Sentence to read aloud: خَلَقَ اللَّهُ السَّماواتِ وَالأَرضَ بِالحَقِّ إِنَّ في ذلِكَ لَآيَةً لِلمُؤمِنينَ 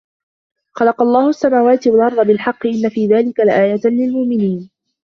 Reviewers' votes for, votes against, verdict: 2, 0, accepted